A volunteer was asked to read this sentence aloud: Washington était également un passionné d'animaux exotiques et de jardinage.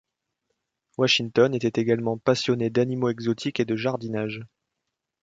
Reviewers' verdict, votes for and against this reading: rejected, 1, 2